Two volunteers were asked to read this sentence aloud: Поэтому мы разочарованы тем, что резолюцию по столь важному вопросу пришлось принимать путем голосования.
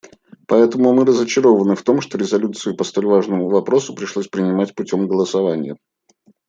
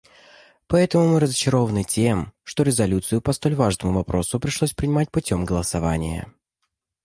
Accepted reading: second